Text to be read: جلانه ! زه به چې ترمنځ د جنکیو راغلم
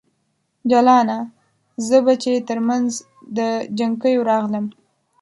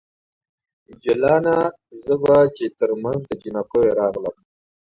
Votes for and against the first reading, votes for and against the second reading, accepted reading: 2, 3, 2, 0, second